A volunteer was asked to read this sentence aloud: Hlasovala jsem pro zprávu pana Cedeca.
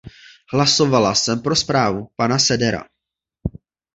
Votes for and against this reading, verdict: 0, 2, rejected